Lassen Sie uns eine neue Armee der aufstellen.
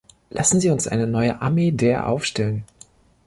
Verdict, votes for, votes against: accepted, 2, 0